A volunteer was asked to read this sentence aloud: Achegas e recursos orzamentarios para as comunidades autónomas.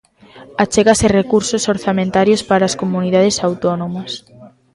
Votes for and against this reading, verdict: 2, 1, accepted